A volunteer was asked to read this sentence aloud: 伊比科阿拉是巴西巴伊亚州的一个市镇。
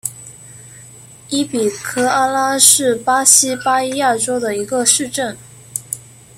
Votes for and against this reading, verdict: 2, 1, accepted